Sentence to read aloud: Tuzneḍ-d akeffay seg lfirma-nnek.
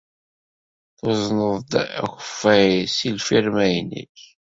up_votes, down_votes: 1, 2